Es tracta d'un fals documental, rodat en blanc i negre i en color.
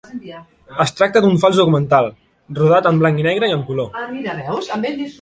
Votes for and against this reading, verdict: 0, 2, rejected